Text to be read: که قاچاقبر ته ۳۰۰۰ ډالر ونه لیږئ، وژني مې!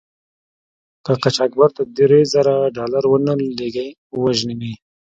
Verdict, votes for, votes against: rejected, 0, 2